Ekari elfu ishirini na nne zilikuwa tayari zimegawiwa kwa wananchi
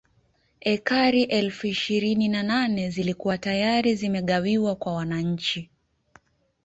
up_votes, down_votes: 1, 2